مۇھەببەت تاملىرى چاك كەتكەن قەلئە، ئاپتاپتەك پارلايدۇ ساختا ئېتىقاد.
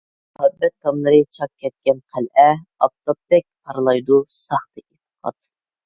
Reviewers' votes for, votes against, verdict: 1, 2, rejected